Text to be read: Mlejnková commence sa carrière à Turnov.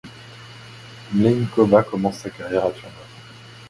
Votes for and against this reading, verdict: 0, 2, rejected